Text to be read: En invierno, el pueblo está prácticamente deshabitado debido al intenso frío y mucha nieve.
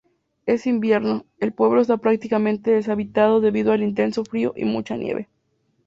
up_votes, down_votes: 2, 0